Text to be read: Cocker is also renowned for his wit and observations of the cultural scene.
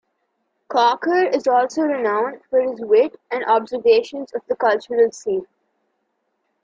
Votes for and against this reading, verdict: 2, 0, accepted